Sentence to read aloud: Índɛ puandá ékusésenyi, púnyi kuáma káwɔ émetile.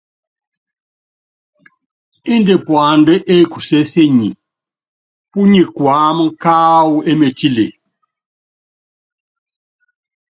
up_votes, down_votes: 2, 0